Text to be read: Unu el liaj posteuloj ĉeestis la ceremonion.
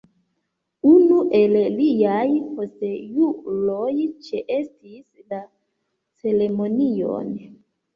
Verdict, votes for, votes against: rejected, 0, 2